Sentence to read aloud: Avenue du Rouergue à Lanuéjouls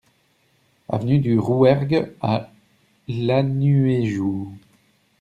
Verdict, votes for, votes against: rejected, 0, 2